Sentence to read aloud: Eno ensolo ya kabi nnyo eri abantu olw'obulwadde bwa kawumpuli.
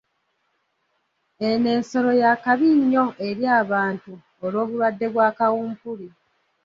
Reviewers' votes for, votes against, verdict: 1, 2, rejected